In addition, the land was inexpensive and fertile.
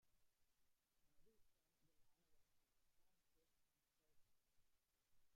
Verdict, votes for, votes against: rejected, 0, 2